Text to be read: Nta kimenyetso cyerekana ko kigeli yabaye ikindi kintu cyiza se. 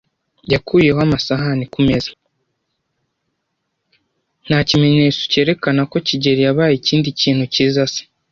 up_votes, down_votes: 1, 2